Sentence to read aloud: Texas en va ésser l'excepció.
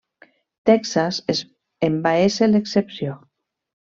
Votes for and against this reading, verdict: 0, 2, rejected